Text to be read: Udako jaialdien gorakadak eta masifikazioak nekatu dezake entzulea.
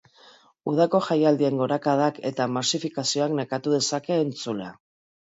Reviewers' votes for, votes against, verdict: 2, 0, accepted